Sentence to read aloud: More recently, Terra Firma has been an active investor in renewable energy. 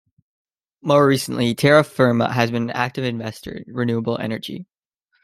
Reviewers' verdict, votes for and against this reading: rejected, 1, 2